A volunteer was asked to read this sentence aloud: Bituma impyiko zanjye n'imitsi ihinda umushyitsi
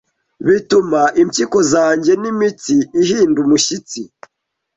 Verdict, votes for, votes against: accepted, 2, 0